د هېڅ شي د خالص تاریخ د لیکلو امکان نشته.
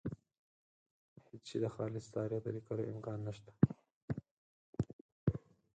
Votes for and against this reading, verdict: 2, 4, rejected